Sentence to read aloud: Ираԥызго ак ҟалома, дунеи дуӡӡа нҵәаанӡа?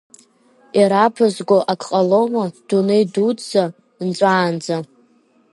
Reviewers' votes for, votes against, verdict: 1, 2, rejected